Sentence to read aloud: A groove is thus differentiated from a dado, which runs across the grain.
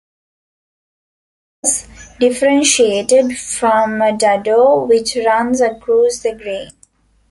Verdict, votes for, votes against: rejected, 0, 2